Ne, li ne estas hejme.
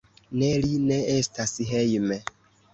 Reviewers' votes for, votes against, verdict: 2, 0, accepted